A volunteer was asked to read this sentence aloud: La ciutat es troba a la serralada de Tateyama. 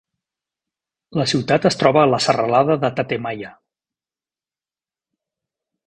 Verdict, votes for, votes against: rejected, 2, 3